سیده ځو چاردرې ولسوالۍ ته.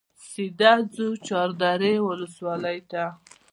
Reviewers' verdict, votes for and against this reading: accepted, 2, 0